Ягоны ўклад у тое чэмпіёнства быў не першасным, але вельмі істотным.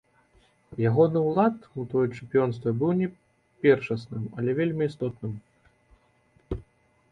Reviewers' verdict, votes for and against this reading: accepted, 2, 1